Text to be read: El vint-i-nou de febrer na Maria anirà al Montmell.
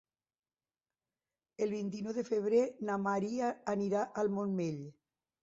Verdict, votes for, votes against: accepted, 6, 0